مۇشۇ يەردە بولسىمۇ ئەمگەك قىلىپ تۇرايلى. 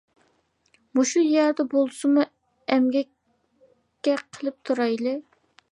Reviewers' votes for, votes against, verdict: 1, 2, rejected